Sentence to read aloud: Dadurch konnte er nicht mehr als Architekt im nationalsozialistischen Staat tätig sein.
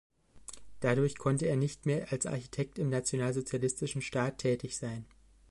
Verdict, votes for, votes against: accepted, 2, 0